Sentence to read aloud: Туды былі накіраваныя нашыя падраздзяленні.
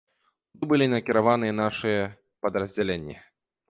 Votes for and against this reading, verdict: 0, 2, rejected